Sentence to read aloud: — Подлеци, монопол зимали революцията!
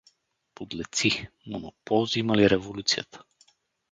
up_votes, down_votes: 0, 2